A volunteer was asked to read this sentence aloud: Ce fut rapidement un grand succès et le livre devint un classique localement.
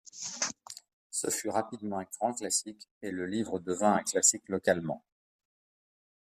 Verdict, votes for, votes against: rejected, 0, 2